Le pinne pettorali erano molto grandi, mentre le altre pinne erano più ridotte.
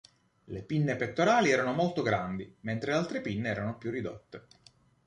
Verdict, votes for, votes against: accepted, 2, 0